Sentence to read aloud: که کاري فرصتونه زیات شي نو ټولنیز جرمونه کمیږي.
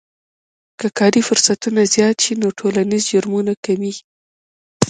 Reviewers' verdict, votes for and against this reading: rejected, 0, 2